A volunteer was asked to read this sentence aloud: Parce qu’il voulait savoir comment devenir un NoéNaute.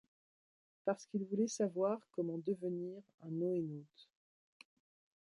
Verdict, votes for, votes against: accepted, 2, 0